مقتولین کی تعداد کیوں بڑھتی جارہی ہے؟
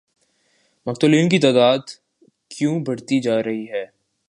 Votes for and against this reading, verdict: 2, 0, accepted